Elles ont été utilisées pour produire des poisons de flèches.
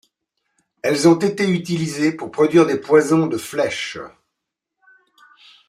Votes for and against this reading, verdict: 2, 0, accepted